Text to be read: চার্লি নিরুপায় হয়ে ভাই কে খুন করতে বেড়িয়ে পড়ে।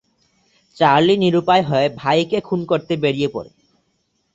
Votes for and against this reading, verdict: 4, 0, accepted